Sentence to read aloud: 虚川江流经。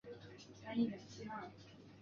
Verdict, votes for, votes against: rejected, 1, 4